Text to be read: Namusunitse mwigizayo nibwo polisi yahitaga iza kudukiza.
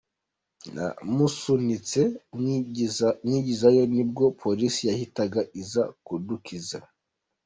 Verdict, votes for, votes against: rejected, 0, 2